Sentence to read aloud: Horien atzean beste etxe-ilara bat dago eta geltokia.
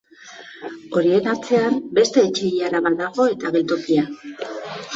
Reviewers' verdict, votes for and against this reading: accepted, 2, 0